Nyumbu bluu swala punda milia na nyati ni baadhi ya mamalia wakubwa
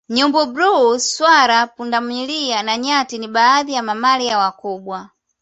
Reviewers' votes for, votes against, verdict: 2, 1, accepted